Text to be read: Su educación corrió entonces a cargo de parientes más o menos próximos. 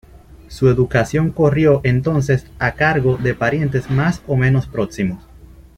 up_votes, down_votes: 1, 2